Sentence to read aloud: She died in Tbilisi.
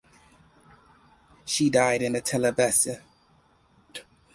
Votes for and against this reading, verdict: 2, 4, rejected